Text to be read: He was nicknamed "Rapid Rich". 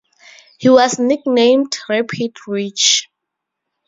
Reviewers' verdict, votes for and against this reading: rejected, 0, 8